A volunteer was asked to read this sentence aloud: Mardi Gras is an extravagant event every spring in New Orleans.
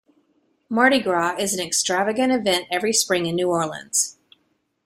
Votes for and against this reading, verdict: 2, 0, accepted